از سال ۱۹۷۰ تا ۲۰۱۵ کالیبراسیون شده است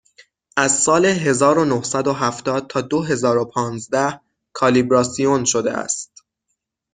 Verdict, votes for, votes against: rejected, 0, 2